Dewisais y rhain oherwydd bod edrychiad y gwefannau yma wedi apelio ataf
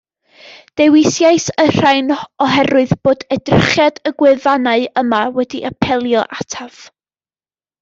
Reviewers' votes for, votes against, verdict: 2, 0, accepted